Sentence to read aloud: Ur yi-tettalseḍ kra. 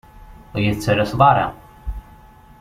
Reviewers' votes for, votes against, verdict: 0, 2, rejected